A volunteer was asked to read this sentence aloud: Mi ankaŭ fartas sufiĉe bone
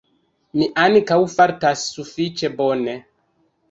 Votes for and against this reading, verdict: 2, 0, accepted